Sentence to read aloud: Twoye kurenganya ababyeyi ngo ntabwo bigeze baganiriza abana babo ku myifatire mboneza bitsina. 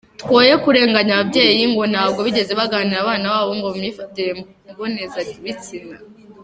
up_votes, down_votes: 1, 2